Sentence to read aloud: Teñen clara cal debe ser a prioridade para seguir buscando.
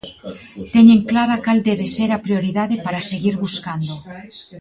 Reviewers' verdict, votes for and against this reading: rejected, 0, 2